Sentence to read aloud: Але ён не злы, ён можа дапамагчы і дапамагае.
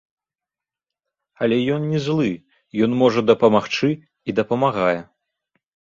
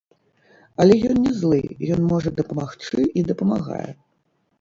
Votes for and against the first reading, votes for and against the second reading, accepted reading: 2, 0, 0, 3, first